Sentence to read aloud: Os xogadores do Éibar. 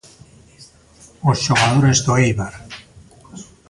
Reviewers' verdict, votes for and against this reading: accepted, 2, 0